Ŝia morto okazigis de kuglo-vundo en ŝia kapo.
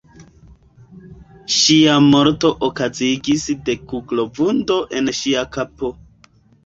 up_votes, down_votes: 2, 0